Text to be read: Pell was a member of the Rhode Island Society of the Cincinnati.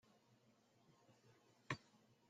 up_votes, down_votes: 0, 2